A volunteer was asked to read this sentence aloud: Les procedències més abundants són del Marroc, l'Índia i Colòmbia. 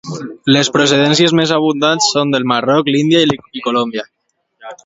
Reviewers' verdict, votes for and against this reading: accepted, 2, 0